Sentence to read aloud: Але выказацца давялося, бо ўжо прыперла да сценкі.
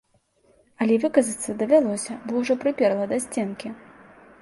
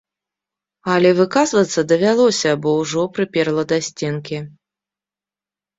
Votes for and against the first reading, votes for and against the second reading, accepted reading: 2, 0, 1, 2, first